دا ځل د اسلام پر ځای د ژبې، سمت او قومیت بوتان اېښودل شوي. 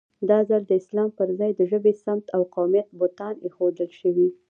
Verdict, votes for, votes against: rejected, 1, 2